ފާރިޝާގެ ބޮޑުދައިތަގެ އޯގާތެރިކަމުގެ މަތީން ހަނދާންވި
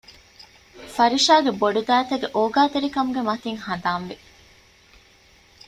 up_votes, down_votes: 0, 2